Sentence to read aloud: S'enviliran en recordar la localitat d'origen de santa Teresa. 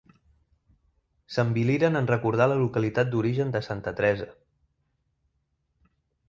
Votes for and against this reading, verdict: 0, 2, rejected